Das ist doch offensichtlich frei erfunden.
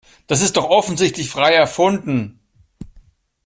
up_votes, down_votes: 2, 0